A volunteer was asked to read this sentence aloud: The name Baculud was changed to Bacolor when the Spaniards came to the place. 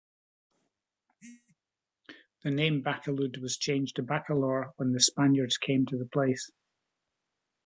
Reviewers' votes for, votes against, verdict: 2, 0, accepted